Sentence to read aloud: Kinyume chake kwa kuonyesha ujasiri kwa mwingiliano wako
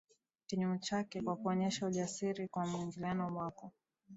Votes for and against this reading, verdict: 2, 0, accepted